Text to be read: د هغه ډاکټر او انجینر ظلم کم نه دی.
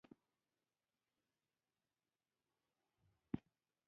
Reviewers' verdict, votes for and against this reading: accepted, 2, 1